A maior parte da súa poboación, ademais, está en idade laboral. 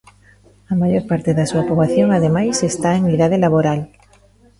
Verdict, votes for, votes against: rejected, 1, 2